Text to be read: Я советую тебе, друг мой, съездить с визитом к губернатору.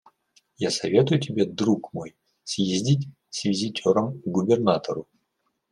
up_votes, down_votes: 0, 2